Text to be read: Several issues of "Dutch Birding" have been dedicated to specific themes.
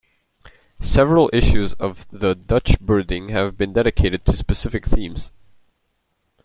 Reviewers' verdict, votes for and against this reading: rejected, 0, 2